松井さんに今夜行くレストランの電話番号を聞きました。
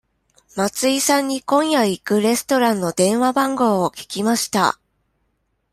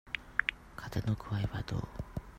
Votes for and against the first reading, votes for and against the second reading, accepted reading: 2, 0, 0, 2, first